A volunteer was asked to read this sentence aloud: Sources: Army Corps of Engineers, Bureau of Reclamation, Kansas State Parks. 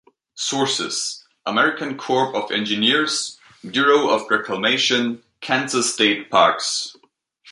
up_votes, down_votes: 0, 2